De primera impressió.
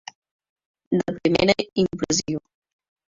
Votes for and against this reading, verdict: 2, 1, accepted